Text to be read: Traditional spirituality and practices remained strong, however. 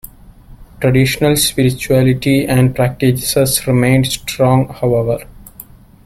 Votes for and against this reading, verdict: 2, 1, accepted